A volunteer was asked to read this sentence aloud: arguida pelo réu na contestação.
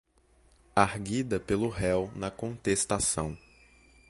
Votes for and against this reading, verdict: 2, 0, accepted